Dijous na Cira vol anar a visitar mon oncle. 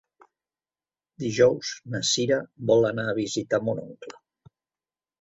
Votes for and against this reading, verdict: 1, 2, rejected